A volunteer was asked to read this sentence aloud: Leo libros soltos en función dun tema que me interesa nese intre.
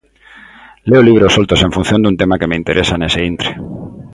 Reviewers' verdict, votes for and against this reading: accepted, 2, 0